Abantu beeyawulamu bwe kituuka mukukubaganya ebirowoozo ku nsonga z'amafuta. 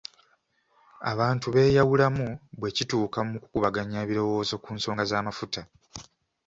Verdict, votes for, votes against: accepted, 2, 0